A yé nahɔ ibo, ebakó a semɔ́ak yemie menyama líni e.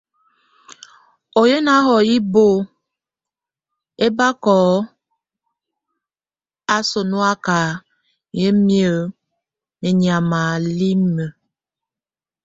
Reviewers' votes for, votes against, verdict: 1, 2, rejected